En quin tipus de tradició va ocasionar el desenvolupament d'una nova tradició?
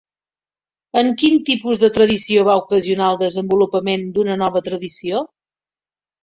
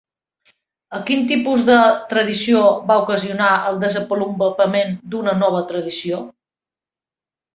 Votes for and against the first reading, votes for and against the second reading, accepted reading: 3, 0, 1, 2, first